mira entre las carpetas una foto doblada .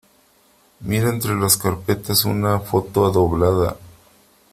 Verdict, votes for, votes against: rejected, 1, 2